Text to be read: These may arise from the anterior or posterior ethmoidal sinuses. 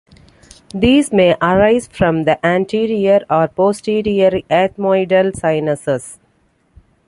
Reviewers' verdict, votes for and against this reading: accepted, 2, 0